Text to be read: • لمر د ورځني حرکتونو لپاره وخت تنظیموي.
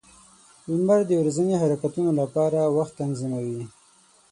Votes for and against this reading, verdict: 12, 0, accepted